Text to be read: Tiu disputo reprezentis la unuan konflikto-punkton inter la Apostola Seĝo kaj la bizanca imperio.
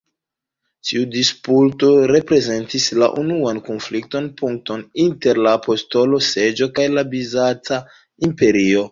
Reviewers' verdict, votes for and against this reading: rejected, 0, 2